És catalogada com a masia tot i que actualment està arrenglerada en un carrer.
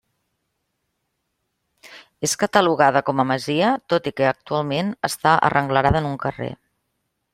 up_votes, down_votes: 2, 0